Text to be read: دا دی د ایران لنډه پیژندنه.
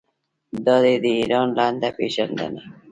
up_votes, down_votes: 2, 1